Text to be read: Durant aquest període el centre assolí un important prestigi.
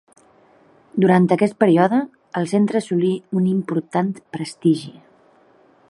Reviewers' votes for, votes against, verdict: 1, 2, rejected